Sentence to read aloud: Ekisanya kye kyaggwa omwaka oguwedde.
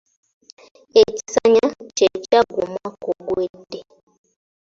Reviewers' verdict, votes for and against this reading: accepted, 2, 1